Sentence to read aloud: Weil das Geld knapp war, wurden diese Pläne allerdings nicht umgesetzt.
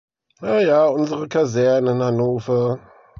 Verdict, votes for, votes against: rejected, 0, 2